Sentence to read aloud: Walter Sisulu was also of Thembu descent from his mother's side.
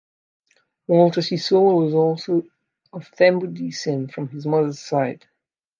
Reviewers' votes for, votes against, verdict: 2, 1, accepted